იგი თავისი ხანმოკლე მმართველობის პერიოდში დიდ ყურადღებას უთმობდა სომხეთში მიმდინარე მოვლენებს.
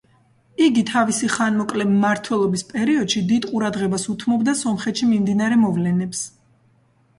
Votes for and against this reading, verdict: 1, 2, rejected